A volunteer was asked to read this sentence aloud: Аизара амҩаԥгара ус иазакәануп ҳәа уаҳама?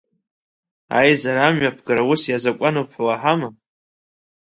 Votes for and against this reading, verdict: 2, 0, accepted